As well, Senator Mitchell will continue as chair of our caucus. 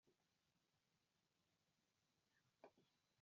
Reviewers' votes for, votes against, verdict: 0, 2, rejected